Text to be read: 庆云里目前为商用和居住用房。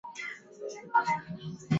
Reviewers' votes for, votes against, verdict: 0, 2, rejected